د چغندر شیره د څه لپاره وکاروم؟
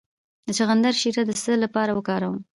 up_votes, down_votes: 2, 0